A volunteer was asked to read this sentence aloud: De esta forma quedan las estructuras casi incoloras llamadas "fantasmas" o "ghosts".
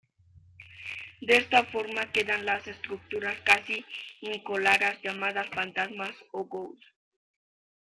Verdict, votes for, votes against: accepted, 2, 0